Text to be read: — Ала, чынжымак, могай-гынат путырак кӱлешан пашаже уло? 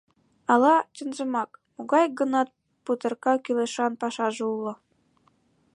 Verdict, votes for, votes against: rejected, 1, 2